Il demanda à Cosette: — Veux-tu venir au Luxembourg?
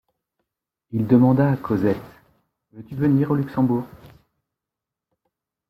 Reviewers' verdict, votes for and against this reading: rejected, 1, 2